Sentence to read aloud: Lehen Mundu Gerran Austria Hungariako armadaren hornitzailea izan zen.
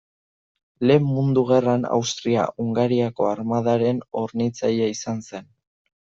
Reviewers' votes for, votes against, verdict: 1, 2, rejected